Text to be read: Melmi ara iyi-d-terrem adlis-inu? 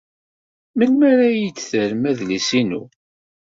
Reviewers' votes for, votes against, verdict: 2, 0, accepted